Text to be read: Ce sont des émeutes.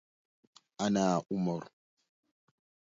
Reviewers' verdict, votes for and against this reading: rejected, 0, 2